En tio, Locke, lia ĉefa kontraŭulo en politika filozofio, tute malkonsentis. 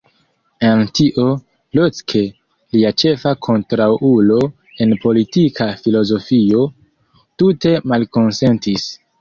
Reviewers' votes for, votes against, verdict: 0, 2, rejected